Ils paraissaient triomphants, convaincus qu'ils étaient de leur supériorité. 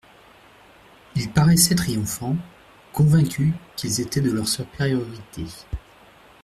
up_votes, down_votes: 0, 2